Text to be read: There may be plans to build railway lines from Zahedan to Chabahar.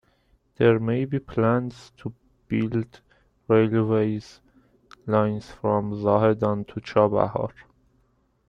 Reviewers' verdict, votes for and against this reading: rejected, 1, 2